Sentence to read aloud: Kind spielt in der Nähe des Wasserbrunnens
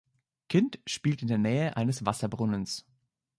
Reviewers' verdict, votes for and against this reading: rejected, 1, 2